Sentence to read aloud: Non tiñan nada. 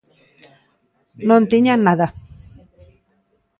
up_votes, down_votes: 2, 0